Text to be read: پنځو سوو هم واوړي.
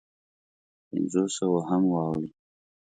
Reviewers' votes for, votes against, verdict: 2, 0, accepted